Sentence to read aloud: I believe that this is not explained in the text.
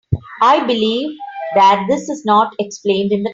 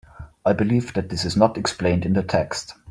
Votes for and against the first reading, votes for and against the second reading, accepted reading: 0, 2, 2, 0, second